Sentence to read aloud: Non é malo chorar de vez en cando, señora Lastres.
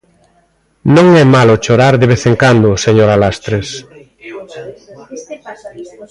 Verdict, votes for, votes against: rejected, 1, 2